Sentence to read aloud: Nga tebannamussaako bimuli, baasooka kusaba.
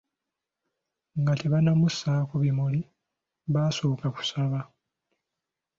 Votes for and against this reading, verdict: 2, 0, accepted